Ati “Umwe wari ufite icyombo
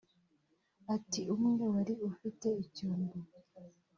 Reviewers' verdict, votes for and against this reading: rejected, 1, 2